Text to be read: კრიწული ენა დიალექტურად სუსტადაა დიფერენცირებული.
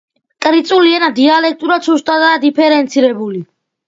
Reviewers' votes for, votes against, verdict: 2, 0, accepted